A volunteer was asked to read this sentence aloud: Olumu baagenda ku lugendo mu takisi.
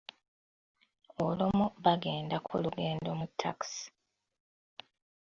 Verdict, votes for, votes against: rejected, 0, 2